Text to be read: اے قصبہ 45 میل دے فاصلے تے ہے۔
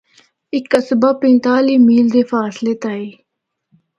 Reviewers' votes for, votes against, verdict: 0, 2, rejected